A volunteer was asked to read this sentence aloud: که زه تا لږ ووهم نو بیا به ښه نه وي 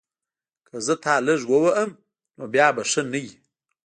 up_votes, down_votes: 2, 0